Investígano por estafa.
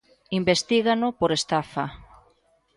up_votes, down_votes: 2, 0